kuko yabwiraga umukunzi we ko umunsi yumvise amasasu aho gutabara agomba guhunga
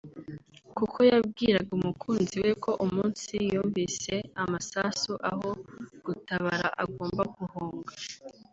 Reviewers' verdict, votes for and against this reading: accepted, 4, 0